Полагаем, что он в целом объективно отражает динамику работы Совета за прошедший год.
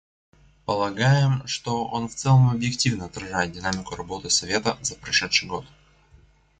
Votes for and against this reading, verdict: 2, 0, accepted